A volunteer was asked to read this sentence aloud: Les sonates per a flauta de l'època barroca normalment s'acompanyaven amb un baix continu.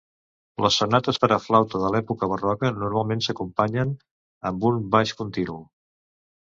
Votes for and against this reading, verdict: 1, 2, rejected